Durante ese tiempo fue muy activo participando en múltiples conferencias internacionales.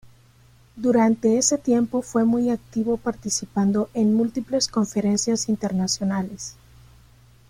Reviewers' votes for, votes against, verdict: 2, 0, accepted